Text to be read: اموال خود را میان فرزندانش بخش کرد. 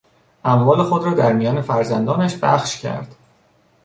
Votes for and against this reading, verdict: 1, 2, rejected